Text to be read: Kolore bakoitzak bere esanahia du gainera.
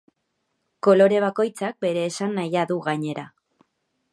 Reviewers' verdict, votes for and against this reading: accepted, 2, 0